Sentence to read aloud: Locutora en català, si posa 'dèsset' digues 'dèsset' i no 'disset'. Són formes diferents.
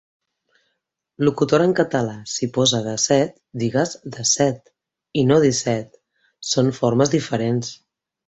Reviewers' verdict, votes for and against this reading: accepted, 3, 0